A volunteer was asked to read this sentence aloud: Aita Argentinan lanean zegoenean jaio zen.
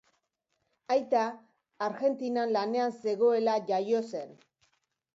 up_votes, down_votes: 0, 2